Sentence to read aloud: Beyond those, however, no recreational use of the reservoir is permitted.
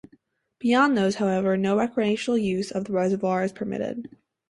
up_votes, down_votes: 2, 0